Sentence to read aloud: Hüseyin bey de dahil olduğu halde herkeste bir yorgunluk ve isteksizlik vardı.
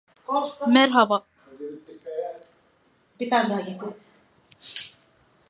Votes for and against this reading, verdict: 0, 2, rejected